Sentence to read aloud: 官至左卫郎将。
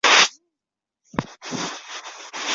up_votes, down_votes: 1, 4